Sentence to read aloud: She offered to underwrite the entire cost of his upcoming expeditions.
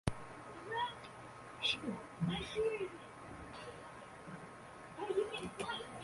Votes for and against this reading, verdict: 0, 2, rejected